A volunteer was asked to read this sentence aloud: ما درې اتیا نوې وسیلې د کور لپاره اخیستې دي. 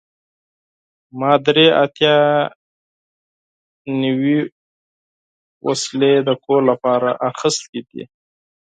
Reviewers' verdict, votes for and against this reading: rejected, 2, 4